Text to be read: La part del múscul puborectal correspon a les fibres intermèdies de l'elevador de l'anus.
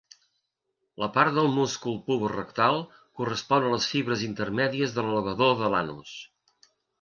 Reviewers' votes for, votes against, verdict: 2, 0, accepted